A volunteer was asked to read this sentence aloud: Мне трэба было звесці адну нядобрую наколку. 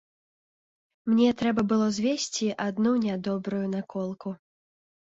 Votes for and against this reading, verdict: 2, 0, accepted